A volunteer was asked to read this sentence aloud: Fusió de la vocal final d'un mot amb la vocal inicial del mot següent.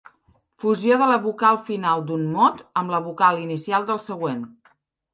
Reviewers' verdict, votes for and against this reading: rejected, 0, 3